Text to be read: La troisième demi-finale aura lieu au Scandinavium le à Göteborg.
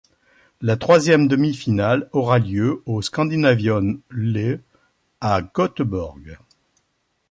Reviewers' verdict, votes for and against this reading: accepted, 2, 0